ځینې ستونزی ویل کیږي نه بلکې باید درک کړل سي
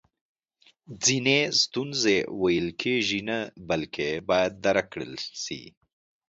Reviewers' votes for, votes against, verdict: 3, 0, accepted